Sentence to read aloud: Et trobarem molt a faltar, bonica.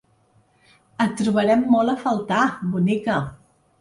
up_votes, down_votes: 3, 0